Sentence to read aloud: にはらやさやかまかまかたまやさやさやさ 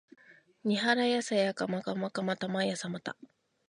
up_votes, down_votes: 0, 2